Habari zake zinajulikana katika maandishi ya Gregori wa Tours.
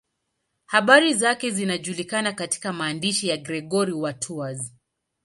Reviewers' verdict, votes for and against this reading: accepted, 2, 0